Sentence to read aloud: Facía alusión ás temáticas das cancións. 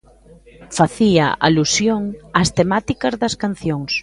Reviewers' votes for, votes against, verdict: 2, 0, accepted